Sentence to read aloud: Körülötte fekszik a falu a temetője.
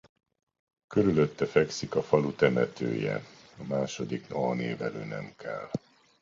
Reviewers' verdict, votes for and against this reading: rejected, 0, 2